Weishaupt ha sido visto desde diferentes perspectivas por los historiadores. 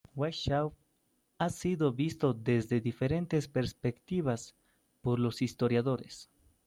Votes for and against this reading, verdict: 1, 2, rejected